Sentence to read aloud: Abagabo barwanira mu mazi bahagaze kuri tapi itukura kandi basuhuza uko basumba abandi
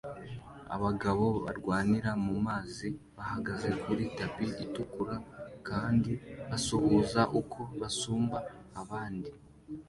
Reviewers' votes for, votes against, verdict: 2, 0, accepted